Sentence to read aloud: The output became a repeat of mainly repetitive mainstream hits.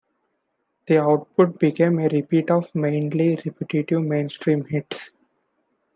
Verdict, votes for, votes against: accepted, 2, 0